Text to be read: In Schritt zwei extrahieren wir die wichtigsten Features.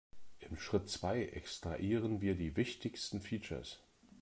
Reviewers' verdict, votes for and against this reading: rejected, 1, 2